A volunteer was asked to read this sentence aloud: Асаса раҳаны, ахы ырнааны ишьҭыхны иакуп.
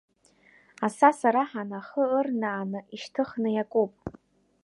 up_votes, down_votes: 2, 0